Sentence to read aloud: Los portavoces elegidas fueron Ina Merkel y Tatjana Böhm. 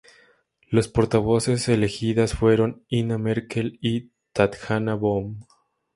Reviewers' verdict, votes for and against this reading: accepted, 2, 0